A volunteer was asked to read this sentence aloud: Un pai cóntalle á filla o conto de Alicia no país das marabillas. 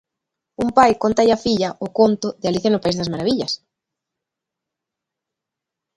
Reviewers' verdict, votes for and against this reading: accepted, 2, 0